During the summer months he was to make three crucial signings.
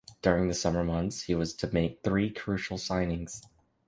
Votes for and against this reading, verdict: 3, 0, accepted